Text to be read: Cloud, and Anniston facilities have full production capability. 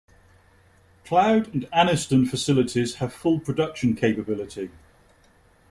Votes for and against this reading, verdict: 2, 0, accepted